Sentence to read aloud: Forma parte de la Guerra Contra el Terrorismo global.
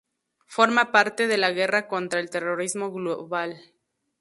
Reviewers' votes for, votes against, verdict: 0, 2, rejected